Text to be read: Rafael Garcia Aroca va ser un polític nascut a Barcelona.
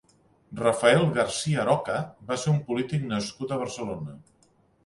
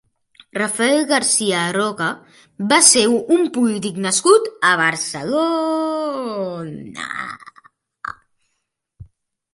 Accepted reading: first